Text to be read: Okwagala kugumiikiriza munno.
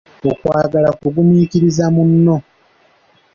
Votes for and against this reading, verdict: 2, 1, accepted